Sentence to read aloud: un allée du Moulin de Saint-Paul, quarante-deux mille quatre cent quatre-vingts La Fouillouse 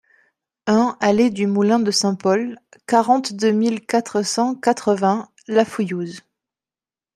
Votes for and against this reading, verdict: 2, 0, accepted